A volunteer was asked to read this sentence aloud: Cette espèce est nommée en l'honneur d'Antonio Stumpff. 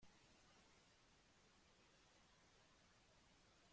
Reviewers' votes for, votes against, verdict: 1, 2, rejected